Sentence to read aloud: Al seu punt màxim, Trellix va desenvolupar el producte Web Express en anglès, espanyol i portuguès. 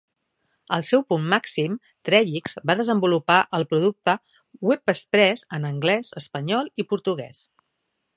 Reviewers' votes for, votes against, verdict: 2, 0, accepted